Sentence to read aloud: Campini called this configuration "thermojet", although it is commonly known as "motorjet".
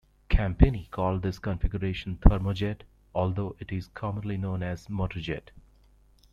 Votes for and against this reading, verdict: 2, 0, accepted